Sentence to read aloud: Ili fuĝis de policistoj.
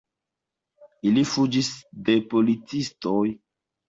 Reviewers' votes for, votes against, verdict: 2, 1, accepted